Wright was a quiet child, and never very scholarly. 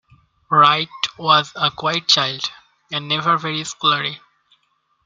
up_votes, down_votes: 2, 1